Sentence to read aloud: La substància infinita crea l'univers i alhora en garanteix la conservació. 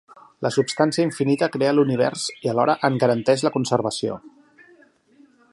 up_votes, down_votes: 3, 0